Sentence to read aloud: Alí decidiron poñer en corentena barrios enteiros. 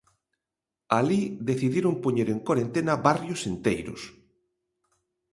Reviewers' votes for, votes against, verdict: 2, 0, accepted